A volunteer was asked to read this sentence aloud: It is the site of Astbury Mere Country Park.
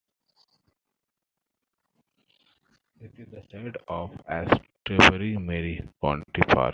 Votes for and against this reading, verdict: 0, 2, rejected